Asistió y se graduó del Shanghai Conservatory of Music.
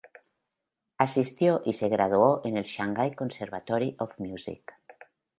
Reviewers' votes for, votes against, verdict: 0, 2, rejected